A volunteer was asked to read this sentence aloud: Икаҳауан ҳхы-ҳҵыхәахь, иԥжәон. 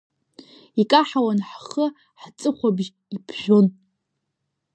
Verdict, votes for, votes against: rejected, 0, 2